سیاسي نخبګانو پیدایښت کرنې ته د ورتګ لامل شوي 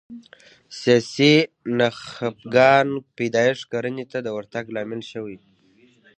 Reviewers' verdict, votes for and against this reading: accepted, 2, 0